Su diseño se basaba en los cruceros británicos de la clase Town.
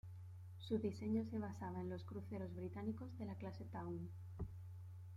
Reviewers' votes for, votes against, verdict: 2, 0, accepted